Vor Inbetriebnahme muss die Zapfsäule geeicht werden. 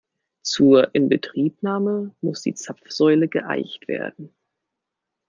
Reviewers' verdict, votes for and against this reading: rejected, 0, 2